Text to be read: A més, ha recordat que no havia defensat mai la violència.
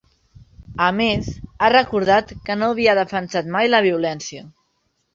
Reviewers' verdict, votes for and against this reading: accepted, 4, 0